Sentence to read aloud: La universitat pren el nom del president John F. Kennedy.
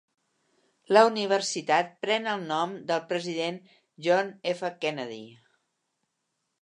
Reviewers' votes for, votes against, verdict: 4, 0, accepted